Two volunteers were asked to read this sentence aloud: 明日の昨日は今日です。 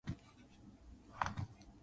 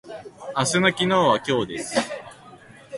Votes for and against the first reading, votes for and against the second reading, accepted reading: 0, 2, 2, 0, second